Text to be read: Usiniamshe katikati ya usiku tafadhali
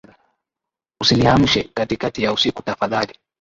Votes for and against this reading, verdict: 8, 4, accepted